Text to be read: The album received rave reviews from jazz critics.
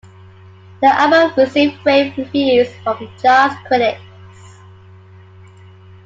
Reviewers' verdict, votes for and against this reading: accepted, 2, 1